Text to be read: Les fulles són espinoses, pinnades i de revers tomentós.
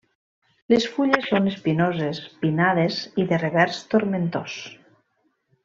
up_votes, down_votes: 0, 2